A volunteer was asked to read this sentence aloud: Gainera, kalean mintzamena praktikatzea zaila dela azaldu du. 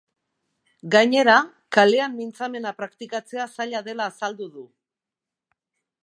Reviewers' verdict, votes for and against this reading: accepted, 2, 0